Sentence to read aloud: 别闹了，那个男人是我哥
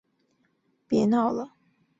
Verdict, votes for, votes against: rejected, 0, 2